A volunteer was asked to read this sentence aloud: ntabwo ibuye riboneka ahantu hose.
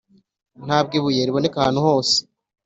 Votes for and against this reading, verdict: 2, 1, accepted